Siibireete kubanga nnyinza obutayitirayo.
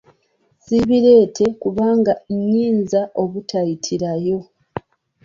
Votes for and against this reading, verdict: 2, 0, accepted